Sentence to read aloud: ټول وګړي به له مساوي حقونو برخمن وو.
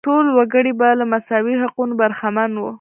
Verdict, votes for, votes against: rejected, 0, 2